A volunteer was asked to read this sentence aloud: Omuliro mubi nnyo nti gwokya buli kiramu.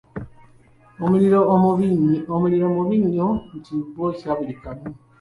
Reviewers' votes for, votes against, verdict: 1, 2, rejected